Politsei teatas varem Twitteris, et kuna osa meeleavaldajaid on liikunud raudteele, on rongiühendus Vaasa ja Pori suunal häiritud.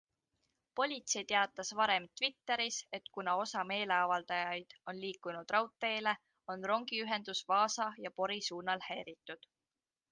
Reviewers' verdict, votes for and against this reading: accepted, 2, 0